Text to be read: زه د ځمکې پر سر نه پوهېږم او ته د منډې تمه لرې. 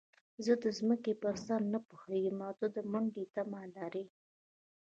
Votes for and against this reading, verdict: 1, 2, rejected